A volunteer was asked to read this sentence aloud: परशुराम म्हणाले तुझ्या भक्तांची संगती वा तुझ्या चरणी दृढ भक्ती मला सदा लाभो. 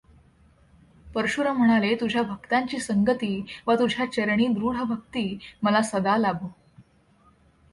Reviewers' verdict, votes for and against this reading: accepted, 2, 0